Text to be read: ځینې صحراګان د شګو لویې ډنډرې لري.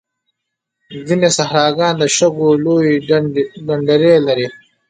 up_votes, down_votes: 0, 2